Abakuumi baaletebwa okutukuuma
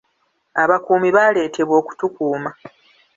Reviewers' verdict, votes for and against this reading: rejected, 0, 2